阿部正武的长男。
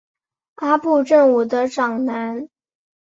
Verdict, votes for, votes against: accepted, 4, 0